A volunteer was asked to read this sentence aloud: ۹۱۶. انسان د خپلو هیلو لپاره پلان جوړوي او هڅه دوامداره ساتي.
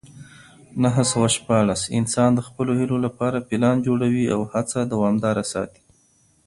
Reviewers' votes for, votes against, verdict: 0, 2, rejected